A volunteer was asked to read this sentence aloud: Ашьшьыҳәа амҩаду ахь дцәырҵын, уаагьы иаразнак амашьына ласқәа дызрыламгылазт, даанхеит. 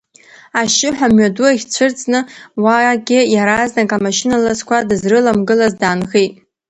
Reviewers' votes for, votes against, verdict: 2, 0, accepted